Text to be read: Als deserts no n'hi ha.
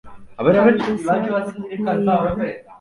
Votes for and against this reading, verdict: 0, 3, rejected